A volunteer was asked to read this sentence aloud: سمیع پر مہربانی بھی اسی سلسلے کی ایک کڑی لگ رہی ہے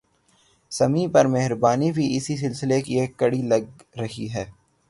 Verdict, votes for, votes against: rejected, 0, 3